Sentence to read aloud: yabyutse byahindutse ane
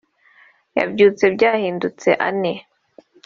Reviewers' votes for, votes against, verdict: 2, 0, accepted